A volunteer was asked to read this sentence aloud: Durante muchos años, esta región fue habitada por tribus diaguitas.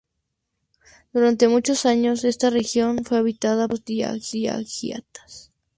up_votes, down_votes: 0, 2